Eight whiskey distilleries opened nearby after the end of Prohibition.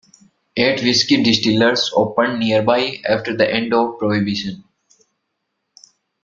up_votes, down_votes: 1, 2